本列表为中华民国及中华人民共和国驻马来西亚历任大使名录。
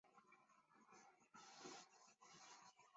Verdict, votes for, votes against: rejected, 0, 2